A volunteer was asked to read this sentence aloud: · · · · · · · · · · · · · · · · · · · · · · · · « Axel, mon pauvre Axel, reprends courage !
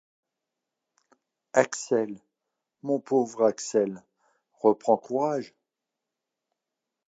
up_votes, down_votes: 2, 0